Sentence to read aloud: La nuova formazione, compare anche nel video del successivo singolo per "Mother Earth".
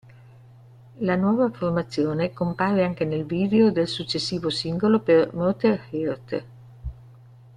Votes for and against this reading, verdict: 1, 2, rejected